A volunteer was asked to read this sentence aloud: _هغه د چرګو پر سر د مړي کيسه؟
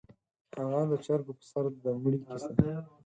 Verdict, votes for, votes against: accepted, 4, 2